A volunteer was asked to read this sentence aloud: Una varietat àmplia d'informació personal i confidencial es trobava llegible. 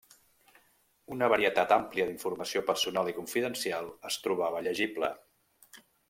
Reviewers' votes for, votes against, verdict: 2, 0, accepted